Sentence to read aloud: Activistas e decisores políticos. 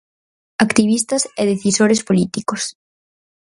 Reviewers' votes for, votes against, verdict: 2, 2, rejected